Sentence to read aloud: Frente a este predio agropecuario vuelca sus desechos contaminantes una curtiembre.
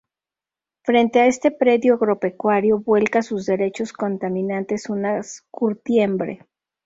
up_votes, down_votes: 0, 2